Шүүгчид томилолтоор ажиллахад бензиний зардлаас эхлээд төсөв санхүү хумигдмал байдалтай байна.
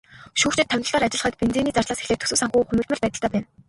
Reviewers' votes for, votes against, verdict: 2, 2, rejected